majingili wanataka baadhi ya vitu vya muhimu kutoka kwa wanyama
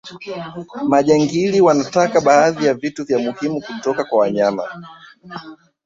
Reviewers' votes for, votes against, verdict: 2, 4, rejected